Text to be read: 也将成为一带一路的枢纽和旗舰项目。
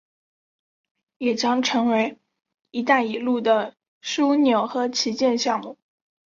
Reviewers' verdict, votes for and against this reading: accepted, 2, 0